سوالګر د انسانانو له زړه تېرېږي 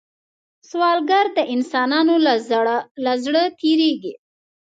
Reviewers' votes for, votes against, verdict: 1, 2, rejected